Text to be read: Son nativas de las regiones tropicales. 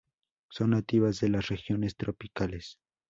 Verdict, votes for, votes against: accepted, 2, 0